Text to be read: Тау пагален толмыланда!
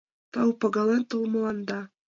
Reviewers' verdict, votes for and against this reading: accepted, 2, 0